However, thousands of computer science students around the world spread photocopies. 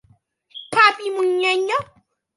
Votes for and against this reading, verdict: 0, 2, rejected